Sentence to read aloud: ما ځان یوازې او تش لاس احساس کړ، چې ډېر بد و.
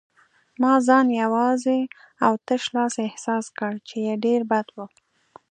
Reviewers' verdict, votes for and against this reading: accepted, 2, 0